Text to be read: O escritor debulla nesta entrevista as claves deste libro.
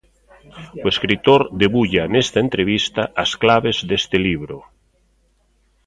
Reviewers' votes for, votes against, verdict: 1, 2, rejected